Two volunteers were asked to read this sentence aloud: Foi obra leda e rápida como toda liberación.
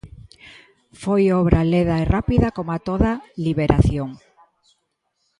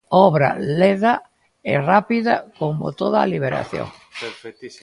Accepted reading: first